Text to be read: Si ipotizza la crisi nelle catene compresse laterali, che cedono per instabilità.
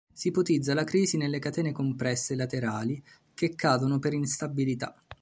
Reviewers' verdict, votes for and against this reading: rejected, 0, 2